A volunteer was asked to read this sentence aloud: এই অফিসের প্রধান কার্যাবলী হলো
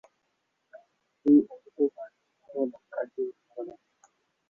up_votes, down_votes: 0, 2